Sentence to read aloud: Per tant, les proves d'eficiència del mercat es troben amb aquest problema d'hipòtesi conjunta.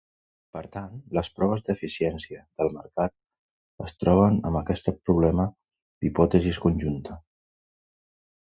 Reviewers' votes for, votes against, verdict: 0, 2, rejected